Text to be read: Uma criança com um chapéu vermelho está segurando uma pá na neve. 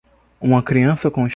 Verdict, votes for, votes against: rejected, 0, 2